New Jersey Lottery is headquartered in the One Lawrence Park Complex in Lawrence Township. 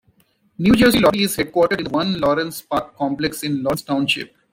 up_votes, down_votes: 2, 1